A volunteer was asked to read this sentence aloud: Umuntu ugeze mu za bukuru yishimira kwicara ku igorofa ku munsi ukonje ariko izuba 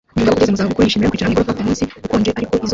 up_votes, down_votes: 0, 2